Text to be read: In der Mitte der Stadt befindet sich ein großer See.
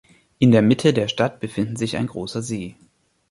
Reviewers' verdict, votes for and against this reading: rejected, 0, 3